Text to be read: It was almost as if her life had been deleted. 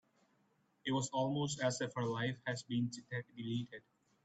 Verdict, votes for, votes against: rejected, 0, 2